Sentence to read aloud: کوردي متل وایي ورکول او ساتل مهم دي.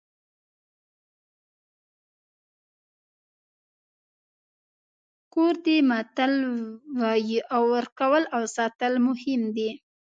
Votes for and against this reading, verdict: 0, 2, rejected